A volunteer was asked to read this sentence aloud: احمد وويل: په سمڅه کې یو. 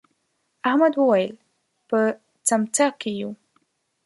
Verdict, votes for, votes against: rejected, 1, 2